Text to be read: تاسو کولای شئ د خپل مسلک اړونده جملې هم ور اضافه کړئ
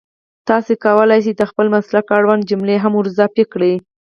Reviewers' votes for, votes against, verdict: 2, 4, rejected